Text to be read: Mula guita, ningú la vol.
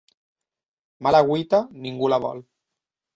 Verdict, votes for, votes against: rejected, 1, 2